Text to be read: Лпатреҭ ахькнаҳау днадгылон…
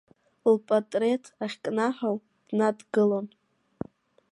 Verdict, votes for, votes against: accepted, 2, 0